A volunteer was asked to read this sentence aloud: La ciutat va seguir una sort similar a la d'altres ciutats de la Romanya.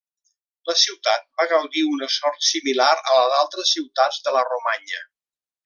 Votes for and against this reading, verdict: 0, 2, rejected